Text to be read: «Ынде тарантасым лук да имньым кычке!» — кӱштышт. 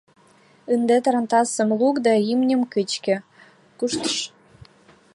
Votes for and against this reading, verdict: 0, 2, rejected